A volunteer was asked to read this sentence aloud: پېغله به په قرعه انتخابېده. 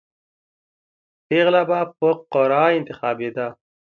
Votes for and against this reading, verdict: 2, 0, accepted